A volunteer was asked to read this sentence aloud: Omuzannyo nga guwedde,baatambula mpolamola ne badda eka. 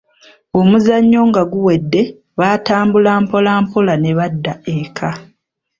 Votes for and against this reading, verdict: 2, 0, accepted